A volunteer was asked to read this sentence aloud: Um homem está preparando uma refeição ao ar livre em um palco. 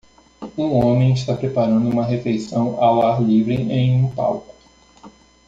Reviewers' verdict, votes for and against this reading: accepted, 2, 0